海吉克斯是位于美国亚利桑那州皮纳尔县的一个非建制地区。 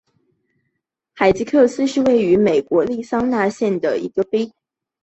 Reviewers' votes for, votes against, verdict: 1, 4, rejected